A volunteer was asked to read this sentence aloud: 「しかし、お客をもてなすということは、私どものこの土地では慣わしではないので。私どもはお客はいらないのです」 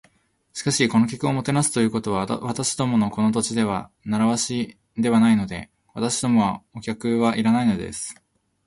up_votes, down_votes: 2, 0